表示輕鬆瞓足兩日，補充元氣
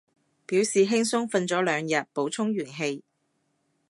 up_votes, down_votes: 1, 2